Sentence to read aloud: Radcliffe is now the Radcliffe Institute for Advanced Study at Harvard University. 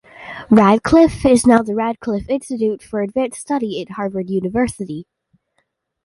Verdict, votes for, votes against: accepted, 2, 0